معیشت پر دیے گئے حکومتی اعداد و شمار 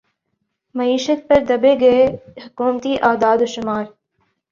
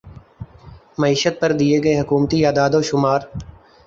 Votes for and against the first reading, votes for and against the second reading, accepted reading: 2, 3, 5, 1, second